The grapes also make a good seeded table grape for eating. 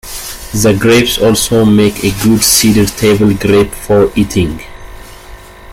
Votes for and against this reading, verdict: 0, 2, rejected